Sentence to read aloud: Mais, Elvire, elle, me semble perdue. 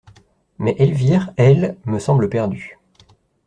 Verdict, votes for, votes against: accepted, 2, 0